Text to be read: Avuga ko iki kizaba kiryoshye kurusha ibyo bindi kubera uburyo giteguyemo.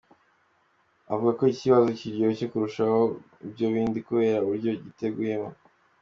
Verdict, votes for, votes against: accepted, 3, 0